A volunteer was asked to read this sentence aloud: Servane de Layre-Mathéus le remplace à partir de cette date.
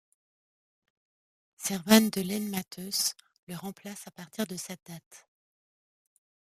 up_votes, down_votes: 0, 2